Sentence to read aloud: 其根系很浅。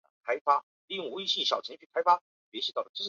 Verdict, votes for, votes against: rejected, 1, 2